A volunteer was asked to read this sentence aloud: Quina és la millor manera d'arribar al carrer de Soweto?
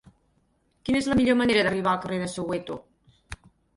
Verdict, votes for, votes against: accepted, 4, 0